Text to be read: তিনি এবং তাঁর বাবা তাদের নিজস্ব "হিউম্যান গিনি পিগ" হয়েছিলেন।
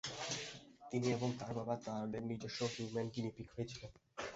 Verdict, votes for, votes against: accepted, 2, 1